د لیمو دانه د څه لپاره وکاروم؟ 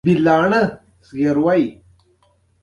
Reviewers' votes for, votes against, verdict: 0, 2, rejected